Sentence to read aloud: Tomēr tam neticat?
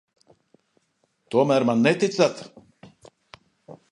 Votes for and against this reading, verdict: 0, 2, rejected